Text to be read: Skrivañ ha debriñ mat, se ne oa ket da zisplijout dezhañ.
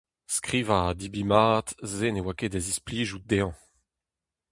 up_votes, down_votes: 4, 0